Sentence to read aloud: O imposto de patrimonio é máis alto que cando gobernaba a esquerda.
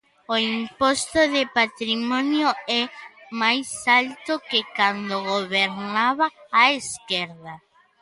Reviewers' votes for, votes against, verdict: 0, 2, rejected